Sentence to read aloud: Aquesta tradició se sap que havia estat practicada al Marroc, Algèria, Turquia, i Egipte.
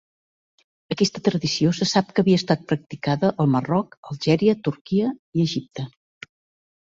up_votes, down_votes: 2, 0